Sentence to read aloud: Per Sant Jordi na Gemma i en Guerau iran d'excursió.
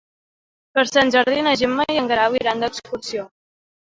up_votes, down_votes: 2, 0